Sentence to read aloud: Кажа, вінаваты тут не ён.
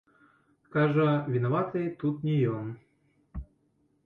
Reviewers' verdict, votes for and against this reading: rejected, 0, 2